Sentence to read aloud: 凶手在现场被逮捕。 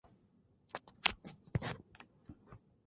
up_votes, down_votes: 1, 2